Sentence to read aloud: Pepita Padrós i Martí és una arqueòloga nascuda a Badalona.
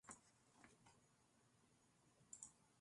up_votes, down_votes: 0, 2